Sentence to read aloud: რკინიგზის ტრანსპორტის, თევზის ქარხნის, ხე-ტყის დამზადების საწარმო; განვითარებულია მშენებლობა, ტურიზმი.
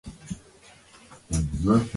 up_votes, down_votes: 0, 2